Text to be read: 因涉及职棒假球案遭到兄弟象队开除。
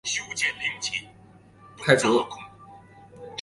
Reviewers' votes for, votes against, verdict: 0, 2, rejected